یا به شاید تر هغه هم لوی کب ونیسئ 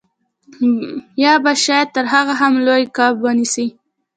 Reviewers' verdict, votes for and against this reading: accepted, 2, 0